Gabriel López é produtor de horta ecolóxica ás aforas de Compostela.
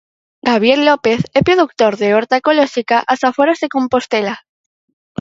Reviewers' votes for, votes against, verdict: 4, 2, accepted